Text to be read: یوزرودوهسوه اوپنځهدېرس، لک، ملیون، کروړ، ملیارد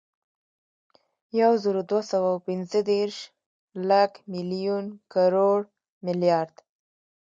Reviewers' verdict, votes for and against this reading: rejected, 1, 2